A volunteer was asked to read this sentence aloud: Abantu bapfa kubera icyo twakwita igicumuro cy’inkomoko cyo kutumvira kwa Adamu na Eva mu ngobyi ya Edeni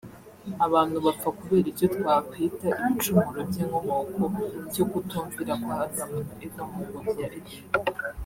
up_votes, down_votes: 0, 2